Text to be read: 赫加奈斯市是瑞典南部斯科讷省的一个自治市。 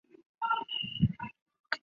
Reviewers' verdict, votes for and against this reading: rejected, 1, 2